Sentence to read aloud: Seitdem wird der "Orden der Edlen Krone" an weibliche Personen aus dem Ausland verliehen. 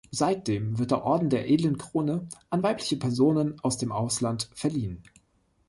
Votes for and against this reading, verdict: 3, 0, accepted